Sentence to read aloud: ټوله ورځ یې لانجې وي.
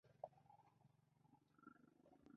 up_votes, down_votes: 0, 2